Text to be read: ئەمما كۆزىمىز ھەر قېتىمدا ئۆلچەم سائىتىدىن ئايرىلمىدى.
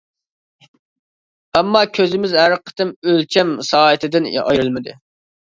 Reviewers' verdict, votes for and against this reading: rejected, 0, 2